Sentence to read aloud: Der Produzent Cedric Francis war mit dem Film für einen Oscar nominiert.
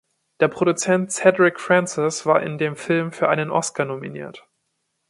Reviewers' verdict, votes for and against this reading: rejected, 1, 2